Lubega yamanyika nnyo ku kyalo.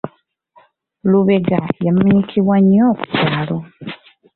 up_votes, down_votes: 1, 2